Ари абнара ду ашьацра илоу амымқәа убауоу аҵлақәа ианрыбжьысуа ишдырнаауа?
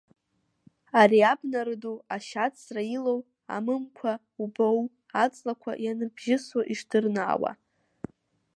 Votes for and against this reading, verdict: 1, 2, rejected